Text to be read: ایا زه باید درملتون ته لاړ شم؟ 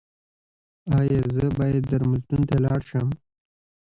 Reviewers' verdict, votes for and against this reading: rejected, 1, 2